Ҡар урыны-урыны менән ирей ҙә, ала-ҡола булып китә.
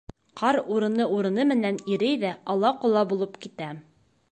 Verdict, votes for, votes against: rejected, 1, 2